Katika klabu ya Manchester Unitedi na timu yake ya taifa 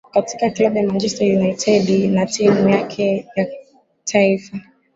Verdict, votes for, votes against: accepted, 4, 0